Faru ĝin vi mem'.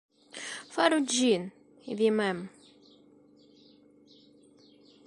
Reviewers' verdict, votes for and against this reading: accepted, 2, 1